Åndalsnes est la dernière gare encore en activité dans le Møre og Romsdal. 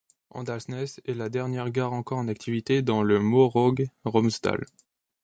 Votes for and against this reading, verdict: 1, 2, rejected